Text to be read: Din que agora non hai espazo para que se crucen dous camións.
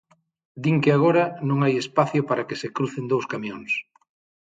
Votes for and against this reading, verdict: 0, 6, rejected